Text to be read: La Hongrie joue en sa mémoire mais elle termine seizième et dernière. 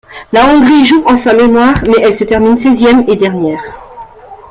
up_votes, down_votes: 1, 2